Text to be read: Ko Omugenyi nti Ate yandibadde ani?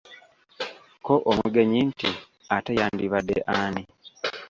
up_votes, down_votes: 2, 0